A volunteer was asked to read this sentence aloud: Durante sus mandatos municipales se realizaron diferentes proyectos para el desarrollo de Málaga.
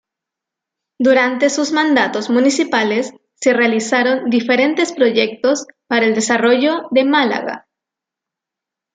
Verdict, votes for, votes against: accepted, 2, 0